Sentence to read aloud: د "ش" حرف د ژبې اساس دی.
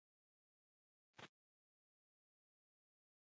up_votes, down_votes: 1, 2